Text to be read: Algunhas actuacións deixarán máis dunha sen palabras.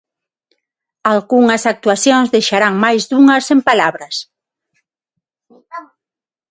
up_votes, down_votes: 0, 6